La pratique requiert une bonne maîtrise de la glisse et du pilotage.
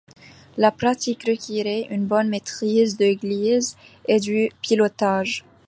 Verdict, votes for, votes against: rejected, 0, 2